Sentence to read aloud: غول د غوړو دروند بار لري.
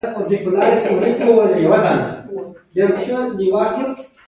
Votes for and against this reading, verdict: 1, 2, rejected